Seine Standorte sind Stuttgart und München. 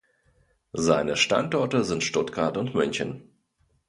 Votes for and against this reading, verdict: 2, 0, accepted